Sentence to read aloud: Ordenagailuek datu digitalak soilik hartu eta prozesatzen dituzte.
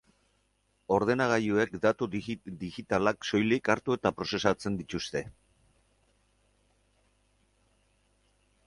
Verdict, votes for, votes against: rejected, 0, 4